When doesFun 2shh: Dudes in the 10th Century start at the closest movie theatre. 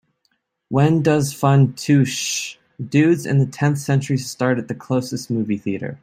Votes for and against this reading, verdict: 0, 2, rejected